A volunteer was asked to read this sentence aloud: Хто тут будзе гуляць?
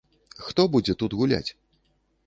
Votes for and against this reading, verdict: 1, 2, rejected